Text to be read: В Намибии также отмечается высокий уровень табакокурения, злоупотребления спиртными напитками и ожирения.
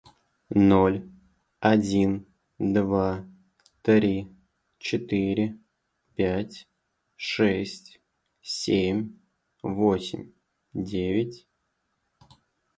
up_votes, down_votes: 0, 2